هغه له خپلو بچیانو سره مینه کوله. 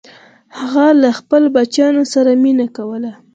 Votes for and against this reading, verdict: 2, 4, rejected